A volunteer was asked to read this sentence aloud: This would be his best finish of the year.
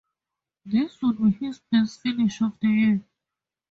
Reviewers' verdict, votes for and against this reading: rejected, 2, 2